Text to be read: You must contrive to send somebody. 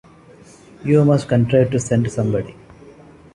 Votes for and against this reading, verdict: 2, 0, accepted